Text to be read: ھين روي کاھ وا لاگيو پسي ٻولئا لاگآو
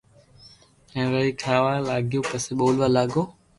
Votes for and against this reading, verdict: 2, 0, accepted